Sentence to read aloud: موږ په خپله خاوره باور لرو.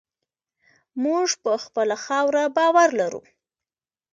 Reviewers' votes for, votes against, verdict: 2, 1, accepted